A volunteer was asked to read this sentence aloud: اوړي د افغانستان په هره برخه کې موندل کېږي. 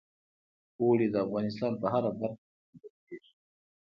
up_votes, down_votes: 2, 0